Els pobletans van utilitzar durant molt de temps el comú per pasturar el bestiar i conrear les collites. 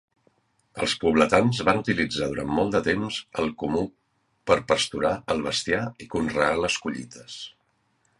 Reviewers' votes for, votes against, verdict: 2, 0, accepted